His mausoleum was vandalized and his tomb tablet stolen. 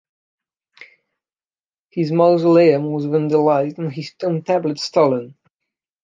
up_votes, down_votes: 1, 2